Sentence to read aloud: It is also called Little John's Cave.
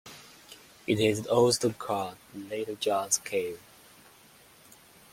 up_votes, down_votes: 2, 0